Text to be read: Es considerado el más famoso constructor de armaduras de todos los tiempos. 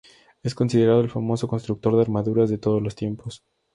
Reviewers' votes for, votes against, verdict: 0, 2, rejected